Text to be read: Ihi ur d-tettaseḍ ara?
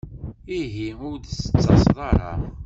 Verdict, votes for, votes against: rejected, 1, 2